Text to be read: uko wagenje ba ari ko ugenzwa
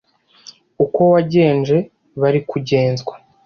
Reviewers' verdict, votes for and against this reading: accepted, 2, 0